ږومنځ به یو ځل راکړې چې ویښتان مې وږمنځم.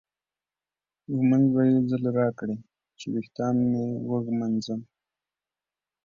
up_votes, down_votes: 2, 0